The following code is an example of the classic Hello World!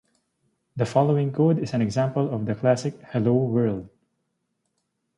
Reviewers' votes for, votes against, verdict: 2, 0, accepted